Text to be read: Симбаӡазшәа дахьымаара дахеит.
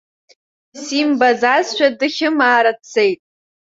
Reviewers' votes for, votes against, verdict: 1, 2, rejected